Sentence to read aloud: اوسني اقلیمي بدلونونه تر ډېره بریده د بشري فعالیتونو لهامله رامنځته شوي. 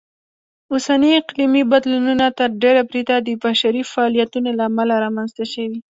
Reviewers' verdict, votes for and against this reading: accepted, 2, 0